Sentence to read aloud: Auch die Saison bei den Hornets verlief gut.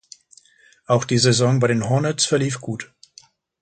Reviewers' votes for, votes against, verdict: 2, 0, accepted